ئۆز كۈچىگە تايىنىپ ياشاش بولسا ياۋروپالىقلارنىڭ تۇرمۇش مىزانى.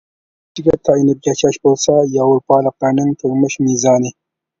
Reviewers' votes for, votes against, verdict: 0, 2, rejected